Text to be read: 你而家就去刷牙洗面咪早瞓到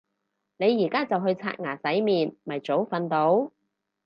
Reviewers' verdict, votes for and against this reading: accepted, 4, 0